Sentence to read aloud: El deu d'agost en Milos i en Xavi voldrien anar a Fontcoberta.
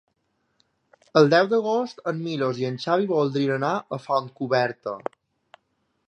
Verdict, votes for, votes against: accepted, 2, 0